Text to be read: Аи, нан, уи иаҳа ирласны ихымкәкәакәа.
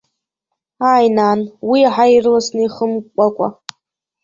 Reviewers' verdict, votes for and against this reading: rejected, 0, 2